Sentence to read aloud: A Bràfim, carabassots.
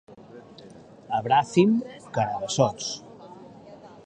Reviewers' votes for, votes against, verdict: 2, 1, accepted